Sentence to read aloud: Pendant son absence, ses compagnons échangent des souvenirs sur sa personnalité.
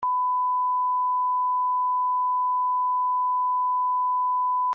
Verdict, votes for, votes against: rejected, 0, 2